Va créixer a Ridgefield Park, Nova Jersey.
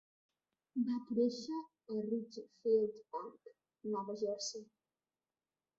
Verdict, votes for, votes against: rejected, 0, 2